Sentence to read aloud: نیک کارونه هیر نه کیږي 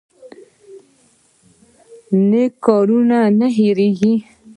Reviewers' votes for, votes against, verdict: 2, 1, accepted